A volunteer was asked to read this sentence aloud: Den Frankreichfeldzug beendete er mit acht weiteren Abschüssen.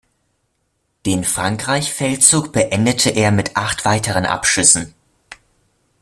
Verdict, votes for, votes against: rejected, 1, 2